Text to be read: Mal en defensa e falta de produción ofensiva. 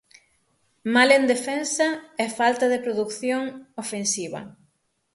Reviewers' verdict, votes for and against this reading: accepted, 6, 3